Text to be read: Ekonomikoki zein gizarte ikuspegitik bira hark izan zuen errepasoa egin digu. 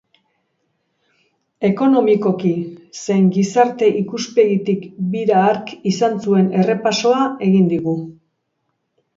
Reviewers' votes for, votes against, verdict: 2, 0, accepted